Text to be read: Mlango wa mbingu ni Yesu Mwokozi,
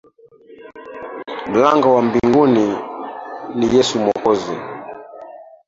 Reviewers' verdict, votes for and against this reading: rejected, 0, 2